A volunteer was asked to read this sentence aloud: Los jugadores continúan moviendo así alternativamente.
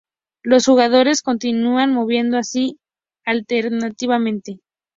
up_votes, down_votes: 4, 0